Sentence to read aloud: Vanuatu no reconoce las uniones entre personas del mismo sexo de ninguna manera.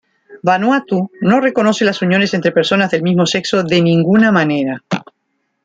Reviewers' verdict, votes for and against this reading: accepted, 2, 1